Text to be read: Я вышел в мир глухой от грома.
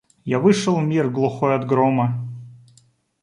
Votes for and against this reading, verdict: 2, 0, accepted